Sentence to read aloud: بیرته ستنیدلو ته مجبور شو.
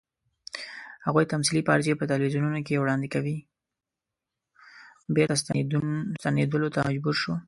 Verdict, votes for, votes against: rejected, 0, 2